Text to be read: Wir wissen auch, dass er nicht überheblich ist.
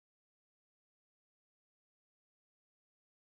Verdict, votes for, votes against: rejected, 0, 2